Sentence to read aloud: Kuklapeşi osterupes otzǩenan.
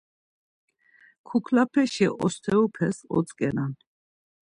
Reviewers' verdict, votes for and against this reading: accepted, 2, 0